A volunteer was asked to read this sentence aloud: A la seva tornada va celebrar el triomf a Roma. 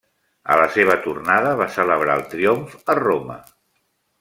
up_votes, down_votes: 3, 0